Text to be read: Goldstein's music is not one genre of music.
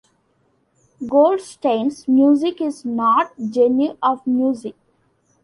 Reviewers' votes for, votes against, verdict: 0, 2, rejected